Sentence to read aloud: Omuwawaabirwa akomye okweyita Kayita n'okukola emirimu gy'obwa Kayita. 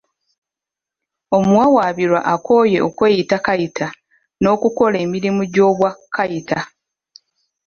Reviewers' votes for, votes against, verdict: 1, 2, rejected